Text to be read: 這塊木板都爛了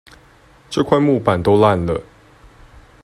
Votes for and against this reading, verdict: 2, 0, accepted